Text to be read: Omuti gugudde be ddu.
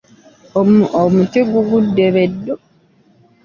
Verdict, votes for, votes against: rejected, 0, 2